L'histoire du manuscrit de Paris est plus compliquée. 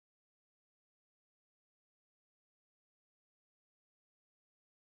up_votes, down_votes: 0, 2